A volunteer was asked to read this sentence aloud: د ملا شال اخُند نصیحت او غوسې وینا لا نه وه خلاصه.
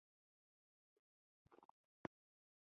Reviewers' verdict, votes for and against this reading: rejected, 0, 2